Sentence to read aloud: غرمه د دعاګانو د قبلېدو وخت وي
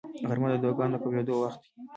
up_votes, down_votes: 2, 0